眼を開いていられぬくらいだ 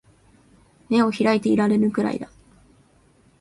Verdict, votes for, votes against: accepted, 16, 0